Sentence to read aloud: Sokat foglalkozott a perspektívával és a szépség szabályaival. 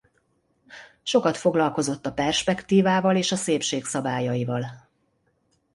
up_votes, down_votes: 2, 0